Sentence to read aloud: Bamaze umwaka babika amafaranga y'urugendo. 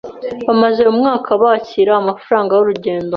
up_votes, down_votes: 1, 2